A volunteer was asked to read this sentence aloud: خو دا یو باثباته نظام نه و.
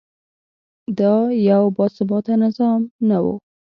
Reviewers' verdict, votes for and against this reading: accepted, 2, 0